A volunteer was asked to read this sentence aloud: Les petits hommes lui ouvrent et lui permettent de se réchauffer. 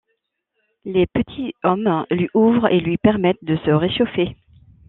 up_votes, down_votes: 2, 0